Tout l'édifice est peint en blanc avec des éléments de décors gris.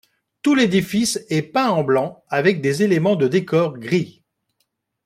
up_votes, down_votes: 2, 0